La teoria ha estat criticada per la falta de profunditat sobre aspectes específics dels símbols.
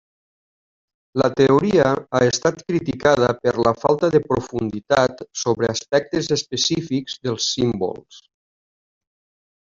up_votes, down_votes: 3, 0